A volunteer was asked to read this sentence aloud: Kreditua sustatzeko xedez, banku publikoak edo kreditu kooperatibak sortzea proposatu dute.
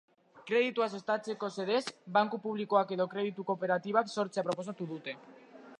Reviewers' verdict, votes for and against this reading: accepted, 4, 0